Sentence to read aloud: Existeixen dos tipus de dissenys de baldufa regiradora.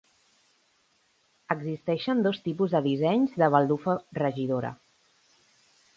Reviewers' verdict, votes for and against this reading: rejected, 2, 3